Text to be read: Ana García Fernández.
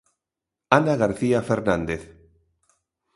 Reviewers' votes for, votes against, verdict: 2, 0, accepted